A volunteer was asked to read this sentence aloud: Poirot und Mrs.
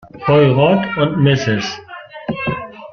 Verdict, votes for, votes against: rejected, 1, 2